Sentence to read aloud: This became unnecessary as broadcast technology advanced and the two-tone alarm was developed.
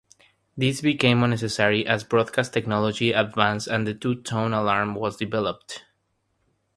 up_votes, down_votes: 3, 0